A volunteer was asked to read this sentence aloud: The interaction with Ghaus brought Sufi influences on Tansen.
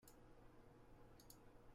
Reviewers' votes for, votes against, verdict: 0, 2, rejected